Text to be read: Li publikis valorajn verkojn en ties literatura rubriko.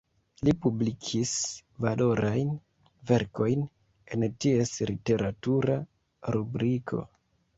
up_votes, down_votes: 1, 2